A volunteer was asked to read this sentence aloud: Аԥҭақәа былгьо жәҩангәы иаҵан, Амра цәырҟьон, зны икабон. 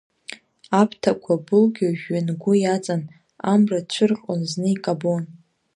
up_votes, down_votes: 2, 0